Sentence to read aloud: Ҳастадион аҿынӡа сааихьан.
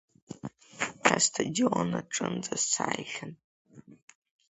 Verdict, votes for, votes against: accepted, 3, 1